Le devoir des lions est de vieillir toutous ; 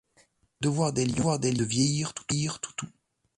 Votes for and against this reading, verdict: 0, 2, rejected